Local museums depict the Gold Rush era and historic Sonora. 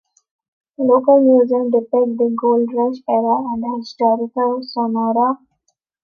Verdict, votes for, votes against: rejected, 0, 2